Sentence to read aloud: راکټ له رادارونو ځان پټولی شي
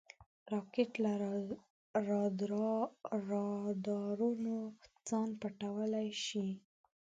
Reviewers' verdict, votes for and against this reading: rejected, 1, 2